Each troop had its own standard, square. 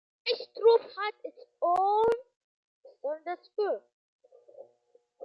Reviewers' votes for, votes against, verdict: 0, 2, rejected